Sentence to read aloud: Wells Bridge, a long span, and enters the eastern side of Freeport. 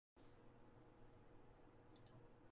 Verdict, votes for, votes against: rejected, 0, 2